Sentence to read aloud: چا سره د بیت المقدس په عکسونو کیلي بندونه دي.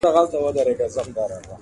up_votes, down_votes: 2, 0